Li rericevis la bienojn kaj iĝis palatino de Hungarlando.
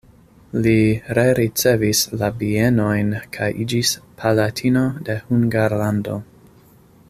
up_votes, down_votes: 2, 0